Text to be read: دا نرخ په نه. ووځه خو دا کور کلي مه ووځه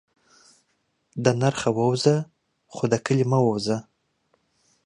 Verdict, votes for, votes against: rejected, 1, 2